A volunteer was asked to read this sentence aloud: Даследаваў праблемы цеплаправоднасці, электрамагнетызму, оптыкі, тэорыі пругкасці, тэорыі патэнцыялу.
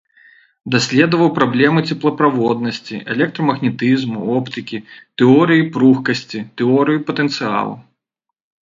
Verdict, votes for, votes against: rejected, 1, 2